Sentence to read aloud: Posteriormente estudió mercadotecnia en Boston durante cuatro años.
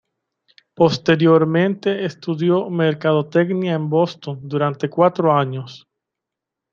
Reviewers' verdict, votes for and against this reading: rejected, 1, 2